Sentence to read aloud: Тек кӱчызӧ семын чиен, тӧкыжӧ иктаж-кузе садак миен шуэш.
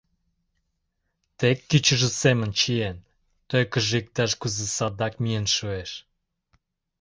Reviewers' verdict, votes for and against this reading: rejected, 0, 2